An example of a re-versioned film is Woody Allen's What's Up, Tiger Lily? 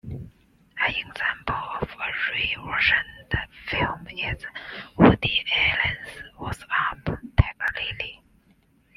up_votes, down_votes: 1, 2